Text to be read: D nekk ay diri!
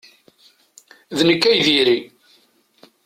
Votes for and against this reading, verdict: 2, 0, accepted